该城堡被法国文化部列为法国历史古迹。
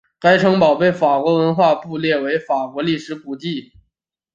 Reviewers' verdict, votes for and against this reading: accepted, 2, 0